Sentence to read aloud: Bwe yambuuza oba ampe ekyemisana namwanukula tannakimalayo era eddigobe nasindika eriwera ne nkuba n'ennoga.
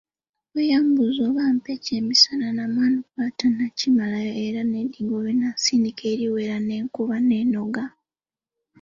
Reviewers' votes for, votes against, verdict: 2, 0, accepted